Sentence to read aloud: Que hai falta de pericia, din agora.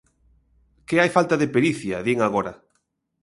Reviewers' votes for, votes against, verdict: 2, 0, accepted